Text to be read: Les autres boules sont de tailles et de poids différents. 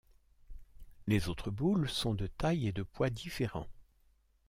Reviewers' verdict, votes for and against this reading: accepted, 2, 0